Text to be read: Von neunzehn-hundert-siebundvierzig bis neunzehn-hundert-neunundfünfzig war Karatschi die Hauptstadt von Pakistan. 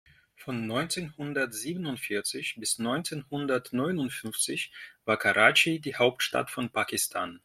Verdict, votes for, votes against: accepted, 2, 0